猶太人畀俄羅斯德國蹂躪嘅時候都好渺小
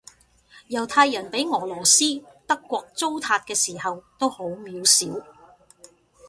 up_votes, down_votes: 1, 2